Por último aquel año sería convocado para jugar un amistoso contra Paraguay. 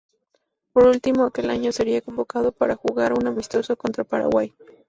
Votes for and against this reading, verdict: 2, 0, accepted